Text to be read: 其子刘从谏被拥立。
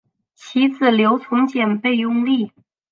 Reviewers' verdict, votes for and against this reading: accepted, 10, 0